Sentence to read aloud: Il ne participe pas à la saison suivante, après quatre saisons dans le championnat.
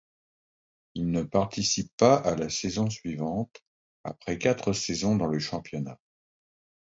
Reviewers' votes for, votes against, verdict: 2, 0, accepted